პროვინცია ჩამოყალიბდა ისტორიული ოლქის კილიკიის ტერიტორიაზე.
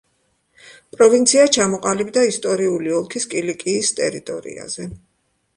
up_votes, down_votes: 2, 0